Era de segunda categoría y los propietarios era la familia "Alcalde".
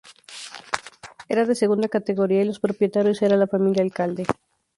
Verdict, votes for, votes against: accepted, 2, 0